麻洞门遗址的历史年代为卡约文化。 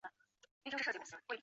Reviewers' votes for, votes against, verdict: 0, 2, rejected